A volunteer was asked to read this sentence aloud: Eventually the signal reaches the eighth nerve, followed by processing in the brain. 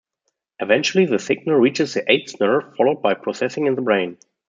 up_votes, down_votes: 2, 0